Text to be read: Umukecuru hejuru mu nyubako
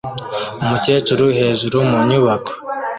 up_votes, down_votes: 2, 0